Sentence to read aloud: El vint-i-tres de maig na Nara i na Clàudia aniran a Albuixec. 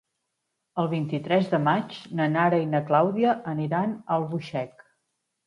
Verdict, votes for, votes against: accepted, 2, 0